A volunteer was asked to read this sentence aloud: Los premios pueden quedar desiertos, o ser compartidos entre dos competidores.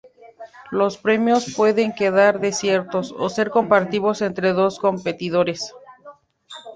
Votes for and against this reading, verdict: 0, 2, rejected